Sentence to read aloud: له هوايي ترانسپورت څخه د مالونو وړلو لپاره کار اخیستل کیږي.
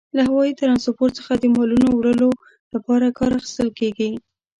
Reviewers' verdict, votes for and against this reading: accepted, 2, 0